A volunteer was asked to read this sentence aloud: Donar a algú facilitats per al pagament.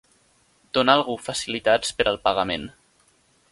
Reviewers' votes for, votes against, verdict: 2, 0, accepted